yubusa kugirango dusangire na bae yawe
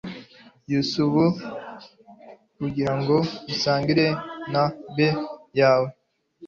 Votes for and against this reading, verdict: 1, 2, rejected